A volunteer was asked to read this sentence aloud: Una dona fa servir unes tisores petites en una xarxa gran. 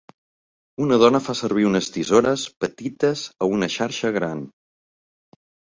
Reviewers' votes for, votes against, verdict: 0, 2, rejected